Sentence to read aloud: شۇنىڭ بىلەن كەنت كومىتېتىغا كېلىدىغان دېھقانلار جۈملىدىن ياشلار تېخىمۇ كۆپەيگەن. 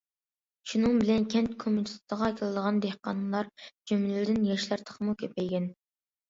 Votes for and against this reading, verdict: 2, 0, accepted